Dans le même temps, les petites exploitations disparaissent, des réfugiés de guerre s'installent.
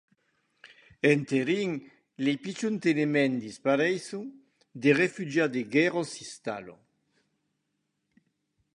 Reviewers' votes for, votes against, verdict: 1, 2, rejected